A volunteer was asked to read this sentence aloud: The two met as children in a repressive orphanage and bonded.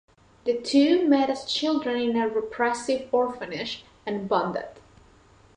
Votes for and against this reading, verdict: 2, 1, accepted